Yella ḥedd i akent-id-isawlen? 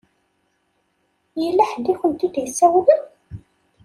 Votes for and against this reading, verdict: 2, 0, accepted